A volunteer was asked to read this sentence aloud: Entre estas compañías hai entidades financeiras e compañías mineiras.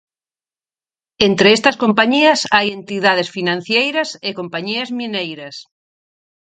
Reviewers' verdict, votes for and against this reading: rejected, 0, 4